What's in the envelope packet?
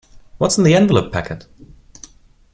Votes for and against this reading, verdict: 2, 0, accepted